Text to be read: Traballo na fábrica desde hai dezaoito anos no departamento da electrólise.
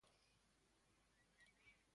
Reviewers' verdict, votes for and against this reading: rejected, 0, 2